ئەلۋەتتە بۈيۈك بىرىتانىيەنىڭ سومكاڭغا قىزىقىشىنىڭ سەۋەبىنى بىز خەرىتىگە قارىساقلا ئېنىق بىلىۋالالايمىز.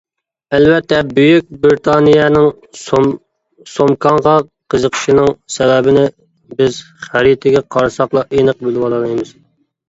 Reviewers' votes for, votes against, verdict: 1, 2, rejected